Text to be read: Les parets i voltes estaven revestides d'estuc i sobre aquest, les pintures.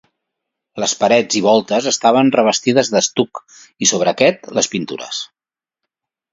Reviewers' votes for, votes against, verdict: 3, 0, accepted